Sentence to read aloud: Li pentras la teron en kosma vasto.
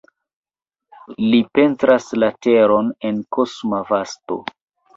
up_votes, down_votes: 2, 0